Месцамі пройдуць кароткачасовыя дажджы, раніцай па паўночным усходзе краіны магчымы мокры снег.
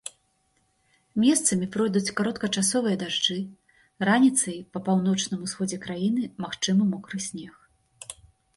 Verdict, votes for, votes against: accepted, 2, 0